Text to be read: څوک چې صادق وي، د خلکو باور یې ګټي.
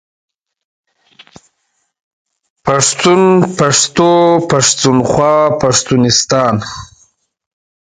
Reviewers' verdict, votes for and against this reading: rejected, 0, 2